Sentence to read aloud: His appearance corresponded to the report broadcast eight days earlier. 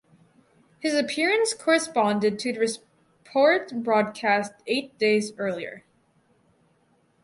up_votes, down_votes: 0, 4